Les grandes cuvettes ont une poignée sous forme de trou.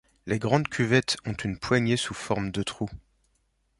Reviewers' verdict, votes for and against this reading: accepted, 2, 0